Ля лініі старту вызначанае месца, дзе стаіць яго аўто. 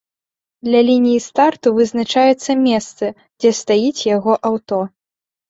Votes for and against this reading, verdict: 0, 2, rejected